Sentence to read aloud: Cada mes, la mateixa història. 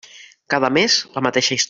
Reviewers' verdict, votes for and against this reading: rejected, 0, 2